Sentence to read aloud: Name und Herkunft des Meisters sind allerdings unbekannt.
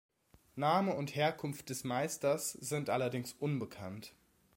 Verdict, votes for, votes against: accepted, 2, 0